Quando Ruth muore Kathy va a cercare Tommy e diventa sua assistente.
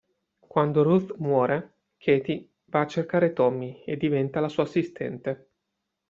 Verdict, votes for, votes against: rejected, 1, 2